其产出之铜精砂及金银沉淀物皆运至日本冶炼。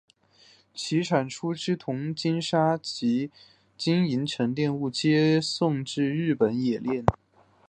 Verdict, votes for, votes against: accepted, 3, 1